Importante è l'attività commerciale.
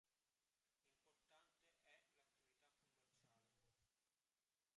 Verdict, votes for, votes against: rejected, 0, 2